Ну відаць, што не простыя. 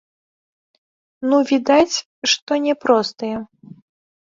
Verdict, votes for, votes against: rejected, 0, 2